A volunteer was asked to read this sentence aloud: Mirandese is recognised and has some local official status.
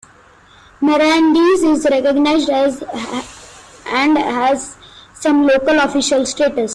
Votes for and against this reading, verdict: 0, 2, rejected